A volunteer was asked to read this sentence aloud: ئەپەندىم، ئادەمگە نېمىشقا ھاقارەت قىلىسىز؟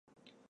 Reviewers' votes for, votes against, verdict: 0, 2, rejected